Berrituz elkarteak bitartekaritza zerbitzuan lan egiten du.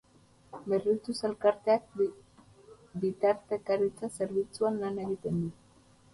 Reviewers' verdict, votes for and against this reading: accepted, 2, 0